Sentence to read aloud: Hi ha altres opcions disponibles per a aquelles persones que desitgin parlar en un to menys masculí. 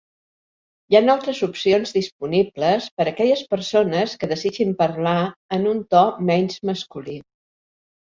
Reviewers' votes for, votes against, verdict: 1, 2, rejected